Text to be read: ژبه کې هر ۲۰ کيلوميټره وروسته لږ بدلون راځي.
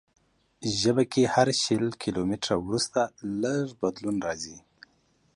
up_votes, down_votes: 0, 2